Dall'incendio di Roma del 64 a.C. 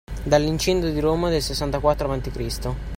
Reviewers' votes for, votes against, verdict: 0, 2, rejected